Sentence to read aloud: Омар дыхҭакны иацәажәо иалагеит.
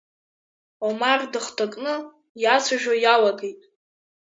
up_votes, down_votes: 0, 2